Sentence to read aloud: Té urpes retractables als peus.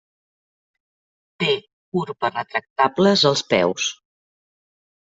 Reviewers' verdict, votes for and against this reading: rejected, 1, 2